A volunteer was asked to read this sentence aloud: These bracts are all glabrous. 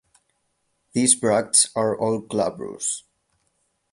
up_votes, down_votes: 4, 8